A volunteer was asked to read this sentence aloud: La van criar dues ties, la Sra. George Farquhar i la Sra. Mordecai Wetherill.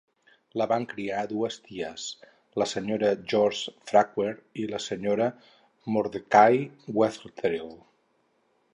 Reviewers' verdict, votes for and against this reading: rejected, 2, 4